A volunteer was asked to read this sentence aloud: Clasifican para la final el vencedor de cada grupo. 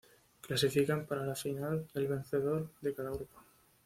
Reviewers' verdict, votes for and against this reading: accepted, 2, 0